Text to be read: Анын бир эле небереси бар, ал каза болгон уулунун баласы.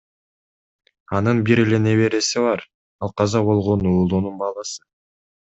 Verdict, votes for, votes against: rejected, 1, 2